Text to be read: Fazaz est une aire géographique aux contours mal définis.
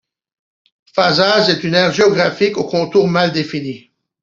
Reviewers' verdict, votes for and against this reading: accepted, 2, 0